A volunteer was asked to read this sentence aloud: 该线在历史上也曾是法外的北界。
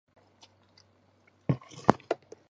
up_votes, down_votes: 0, 3